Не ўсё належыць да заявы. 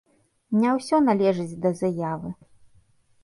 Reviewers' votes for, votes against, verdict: 2, 0, accepted